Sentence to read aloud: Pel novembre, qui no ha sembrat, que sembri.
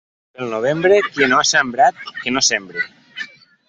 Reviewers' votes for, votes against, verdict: 0, 2, rejected